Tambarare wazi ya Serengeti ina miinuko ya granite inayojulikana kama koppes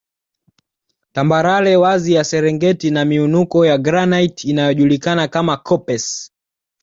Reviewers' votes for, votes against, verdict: 2, 0, accepted